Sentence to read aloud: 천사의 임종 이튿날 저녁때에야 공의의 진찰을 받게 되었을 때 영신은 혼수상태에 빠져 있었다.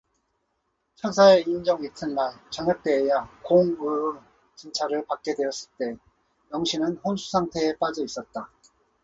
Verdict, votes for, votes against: accepted, 2, 0